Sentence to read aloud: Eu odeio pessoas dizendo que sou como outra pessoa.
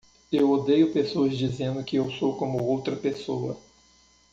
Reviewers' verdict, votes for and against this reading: rejected, 0, 2